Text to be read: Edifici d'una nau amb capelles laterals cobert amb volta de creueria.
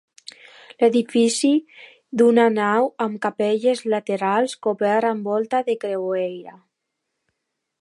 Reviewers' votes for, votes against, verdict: 2, 0, accepted